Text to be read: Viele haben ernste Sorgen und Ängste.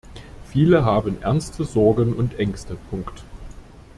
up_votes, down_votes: 0, 2